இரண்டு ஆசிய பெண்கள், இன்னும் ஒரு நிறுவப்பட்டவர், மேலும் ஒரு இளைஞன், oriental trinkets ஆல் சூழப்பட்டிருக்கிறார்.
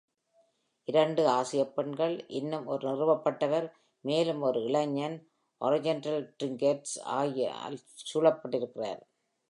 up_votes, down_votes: 0, 2